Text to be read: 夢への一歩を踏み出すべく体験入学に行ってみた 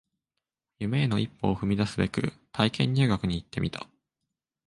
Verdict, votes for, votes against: accepted, 2, 0